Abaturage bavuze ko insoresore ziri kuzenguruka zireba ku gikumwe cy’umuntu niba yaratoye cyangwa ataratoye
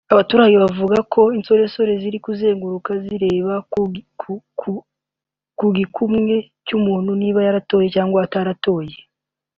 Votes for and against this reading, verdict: 0, 2, rejected